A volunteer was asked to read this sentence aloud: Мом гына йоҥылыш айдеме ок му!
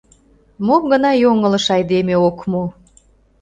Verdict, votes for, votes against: accepted, 2, 0